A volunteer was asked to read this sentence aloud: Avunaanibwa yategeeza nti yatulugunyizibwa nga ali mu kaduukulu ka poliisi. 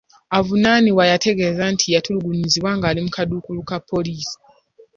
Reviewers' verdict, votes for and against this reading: accepted, 2, 0